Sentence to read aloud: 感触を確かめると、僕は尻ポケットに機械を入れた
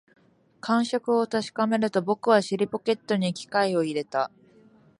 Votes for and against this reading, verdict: 2, 0, accepted